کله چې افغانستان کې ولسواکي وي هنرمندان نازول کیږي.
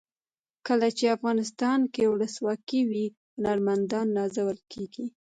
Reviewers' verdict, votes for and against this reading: accepted, 2, 0